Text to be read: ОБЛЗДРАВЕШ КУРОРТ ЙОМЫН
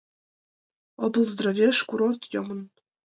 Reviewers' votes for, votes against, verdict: 2, 1, accepted